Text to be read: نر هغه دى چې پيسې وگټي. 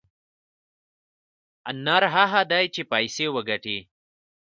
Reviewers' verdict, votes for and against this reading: accepted, 2, 0